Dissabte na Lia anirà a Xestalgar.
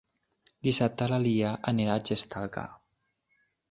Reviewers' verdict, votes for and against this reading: rejected, 1, 2